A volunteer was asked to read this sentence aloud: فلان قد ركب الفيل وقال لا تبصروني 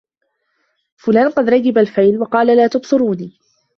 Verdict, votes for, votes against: rejected, 0, 2